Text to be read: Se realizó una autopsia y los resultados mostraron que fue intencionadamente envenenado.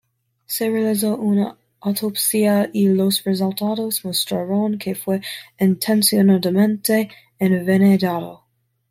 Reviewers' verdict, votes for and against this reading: rejected, 1, 2